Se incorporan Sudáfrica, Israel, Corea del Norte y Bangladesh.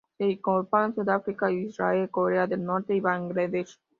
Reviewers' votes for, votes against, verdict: 0, 2, rejected